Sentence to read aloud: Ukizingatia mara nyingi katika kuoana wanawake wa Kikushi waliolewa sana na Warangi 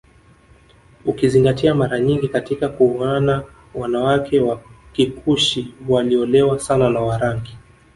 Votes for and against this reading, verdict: 1, 2, rejected